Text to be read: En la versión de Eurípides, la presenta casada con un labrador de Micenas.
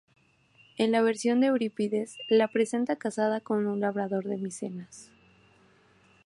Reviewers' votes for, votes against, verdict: 2, 0, accepted